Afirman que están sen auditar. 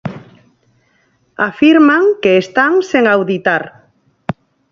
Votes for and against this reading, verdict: 0, 4, rejected